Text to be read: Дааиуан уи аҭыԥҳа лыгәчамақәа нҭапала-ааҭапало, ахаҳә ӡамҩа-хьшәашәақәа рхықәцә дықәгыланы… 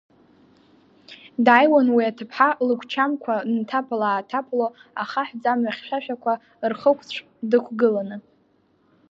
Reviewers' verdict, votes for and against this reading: rejected, 2, 3